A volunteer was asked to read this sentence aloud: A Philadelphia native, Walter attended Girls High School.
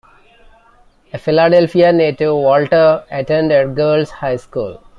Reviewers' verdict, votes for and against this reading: rejected, 0, 2